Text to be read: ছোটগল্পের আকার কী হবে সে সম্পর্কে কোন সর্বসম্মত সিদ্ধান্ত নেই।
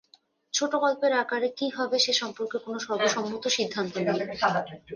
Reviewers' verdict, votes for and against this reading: rejected, 0, 2